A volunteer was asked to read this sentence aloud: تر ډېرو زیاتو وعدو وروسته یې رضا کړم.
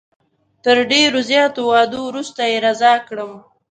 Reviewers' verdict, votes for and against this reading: accepted, 2, 0